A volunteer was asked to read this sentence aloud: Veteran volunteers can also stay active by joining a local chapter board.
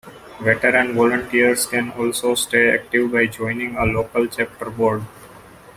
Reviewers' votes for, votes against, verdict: 2, 0, accepted